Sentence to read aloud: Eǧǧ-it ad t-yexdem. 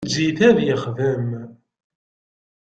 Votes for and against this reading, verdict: 2, 0, accepted